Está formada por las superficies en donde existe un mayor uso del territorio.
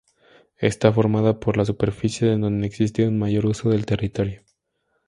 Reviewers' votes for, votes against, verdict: 2, 0, accepted